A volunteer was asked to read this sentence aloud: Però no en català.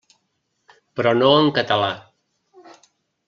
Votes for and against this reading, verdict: 3, 0, accepted